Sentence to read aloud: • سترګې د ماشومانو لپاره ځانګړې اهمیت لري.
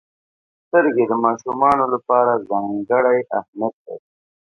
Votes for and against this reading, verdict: 1, 2, rejected